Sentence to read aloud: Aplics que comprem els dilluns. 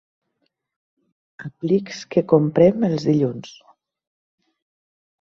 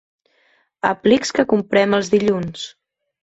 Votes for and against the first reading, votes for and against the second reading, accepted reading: 1, 2, 2, 1, second